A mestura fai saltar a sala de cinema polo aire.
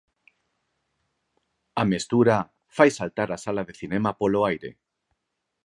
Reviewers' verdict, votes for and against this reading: accepted, 4, 0